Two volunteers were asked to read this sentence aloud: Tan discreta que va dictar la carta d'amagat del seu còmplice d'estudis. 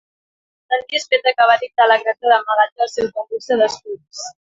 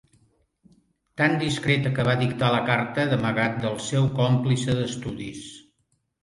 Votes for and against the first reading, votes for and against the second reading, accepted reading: 0, 2, 2, 0, second